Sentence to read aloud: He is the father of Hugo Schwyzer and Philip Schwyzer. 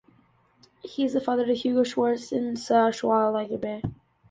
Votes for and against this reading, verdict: 0, 2, rejected